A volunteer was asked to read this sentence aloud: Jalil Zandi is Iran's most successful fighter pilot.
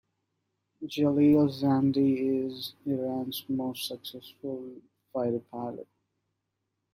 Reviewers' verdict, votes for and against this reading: accepted, 2, 0